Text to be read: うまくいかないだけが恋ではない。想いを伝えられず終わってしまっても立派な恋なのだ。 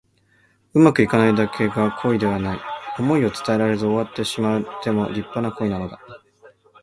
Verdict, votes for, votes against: accepted, 2, 1